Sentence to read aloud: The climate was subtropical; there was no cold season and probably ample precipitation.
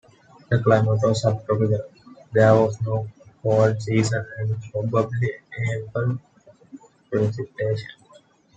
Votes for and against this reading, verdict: 2, 1, accepted